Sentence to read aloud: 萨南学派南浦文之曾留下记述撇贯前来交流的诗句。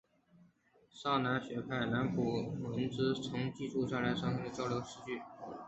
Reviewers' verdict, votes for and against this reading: accepted, 3, 1